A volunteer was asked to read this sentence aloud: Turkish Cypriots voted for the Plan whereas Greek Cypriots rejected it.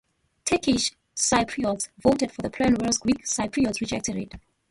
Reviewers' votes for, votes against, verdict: 2, 0, accepted